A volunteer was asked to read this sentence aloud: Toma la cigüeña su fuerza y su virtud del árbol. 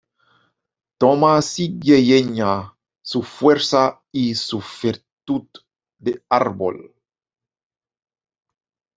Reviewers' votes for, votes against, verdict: 0, 2, rejected